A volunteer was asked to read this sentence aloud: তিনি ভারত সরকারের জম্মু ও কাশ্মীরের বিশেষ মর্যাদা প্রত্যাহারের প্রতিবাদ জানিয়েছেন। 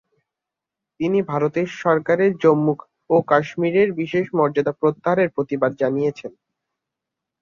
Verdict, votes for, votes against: rejected, 1, 2